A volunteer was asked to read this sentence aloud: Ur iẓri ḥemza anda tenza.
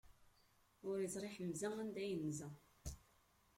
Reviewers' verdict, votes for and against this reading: rejected, 1, 2